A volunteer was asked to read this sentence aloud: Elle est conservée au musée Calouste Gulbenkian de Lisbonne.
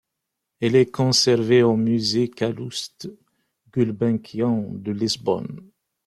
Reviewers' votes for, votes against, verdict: 2, 0, accepted